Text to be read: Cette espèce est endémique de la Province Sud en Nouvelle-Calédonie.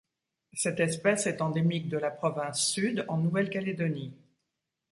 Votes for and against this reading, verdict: 2, 0, accepted